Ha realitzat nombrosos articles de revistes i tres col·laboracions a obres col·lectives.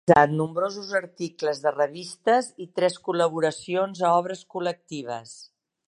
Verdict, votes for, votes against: rejected, 0, 2